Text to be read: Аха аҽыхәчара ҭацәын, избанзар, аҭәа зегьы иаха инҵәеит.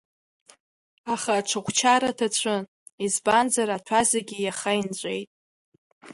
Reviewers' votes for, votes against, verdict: 2, 0, accepted